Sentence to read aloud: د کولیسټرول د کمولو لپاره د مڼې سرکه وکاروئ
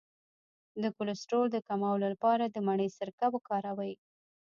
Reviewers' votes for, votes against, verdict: 0, 2, rejected